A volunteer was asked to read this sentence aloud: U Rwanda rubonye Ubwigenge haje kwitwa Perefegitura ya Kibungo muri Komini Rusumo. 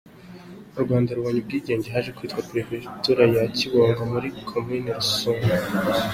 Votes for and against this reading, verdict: 2, 1, accepted